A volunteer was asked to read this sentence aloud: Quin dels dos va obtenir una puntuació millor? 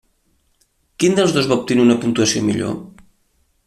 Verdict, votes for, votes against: accepted, 2, 0